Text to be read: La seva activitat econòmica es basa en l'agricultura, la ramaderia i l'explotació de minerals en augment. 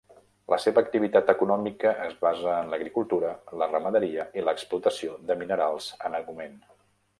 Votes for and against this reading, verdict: 3, 0, accepted